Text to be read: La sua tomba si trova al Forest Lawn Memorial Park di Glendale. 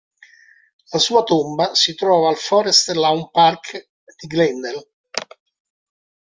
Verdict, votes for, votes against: rejected, 1, 2